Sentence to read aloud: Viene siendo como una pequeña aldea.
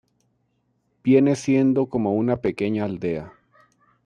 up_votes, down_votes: 1, 2